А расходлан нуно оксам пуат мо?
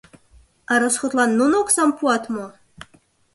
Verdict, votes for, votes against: accepted, 2, 0